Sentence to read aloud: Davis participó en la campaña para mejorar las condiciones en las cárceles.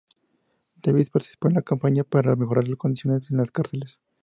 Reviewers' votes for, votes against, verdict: 2, 2, rejected